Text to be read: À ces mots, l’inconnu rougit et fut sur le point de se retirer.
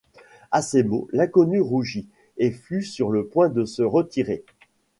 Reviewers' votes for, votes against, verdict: 2, 0, accepted